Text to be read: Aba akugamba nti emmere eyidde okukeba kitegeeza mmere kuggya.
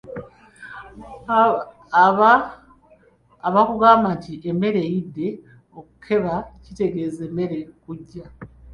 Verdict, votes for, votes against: rejected, 0, 2